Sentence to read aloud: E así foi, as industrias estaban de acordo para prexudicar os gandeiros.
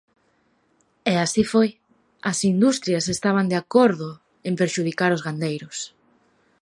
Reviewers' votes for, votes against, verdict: 0, 2, rejected